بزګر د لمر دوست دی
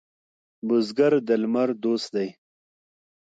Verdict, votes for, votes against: accepted, 2, 0